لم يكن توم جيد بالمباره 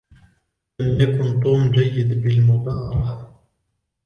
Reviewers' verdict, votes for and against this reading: accepted, 2, 0